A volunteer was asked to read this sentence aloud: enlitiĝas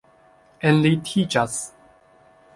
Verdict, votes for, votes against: accepted, 2, 1